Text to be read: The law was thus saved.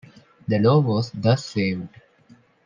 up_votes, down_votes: 2, 0